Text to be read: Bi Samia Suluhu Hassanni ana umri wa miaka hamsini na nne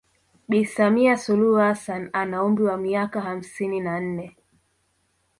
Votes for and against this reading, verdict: 2, 0, accepted